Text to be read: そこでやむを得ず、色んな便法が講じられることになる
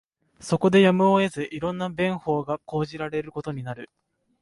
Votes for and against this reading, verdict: 2, 0, accepted